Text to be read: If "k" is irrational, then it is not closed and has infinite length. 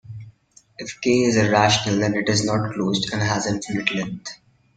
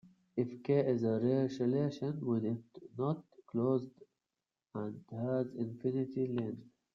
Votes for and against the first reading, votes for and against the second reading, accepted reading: 2, 0, 1, 2, first